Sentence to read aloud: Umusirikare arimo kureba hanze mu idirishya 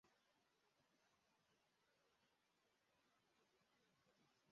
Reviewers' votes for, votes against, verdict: 0, 2, rejected